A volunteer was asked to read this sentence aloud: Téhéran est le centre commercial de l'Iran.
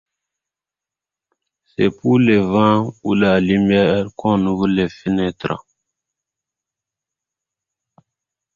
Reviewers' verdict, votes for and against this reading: rejected, 0, 2